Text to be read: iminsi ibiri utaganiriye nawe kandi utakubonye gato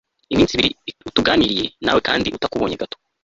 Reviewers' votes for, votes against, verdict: 0, 2, rejected